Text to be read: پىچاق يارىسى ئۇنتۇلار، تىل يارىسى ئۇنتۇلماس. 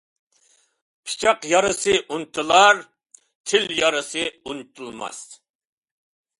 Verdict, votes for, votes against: accepted, 2, 0